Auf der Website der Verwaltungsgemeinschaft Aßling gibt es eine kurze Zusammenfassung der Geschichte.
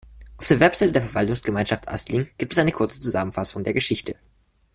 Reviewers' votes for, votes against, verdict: 0, 2, rejected